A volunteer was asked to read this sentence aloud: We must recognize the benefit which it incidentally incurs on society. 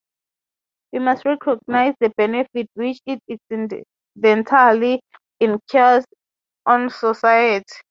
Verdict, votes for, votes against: rejected, 3, 6